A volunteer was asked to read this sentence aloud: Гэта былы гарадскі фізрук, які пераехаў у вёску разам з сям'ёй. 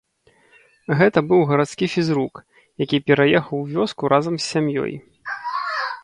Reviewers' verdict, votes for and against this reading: rejected, 1, 2